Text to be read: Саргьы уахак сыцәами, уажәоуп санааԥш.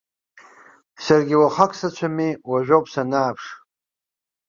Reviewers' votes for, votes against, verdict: 2, 0, accepted